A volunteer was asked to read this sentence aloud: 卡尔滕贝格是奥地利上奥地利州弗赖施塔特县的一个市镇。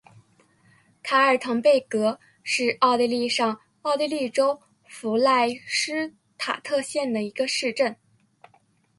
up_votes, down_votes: 2, 0